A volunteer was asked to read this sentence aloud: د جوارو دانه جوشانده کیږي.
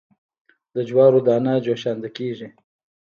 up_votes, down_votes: 1, 2